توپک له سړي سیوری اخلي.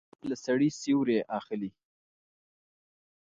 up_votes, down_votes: 1, 2